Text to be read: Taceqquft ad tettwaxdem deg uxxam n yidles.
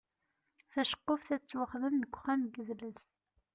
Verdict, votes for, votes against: accepted, 2, 0